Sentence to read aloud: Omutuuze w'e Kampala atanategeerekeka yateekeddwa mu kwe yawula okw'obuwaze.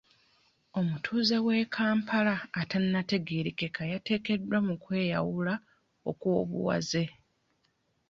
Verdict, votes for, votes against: accepted, 2, 0